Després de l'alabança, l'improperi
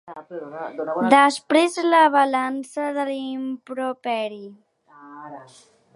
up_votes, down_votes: 0, 2